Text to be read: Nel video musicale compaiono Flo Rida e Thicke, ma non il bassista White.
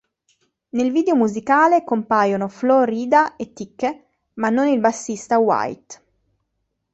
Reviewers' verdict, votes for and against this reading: accepted, 2, 0